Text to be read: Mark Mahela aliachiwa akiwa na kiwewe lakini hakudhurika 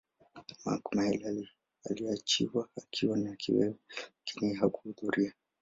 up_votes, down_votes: 0, 2